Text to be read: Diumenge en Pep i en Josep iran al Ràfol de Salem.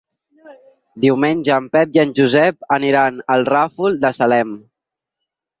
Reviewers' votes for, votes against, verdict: 2, 6, rejected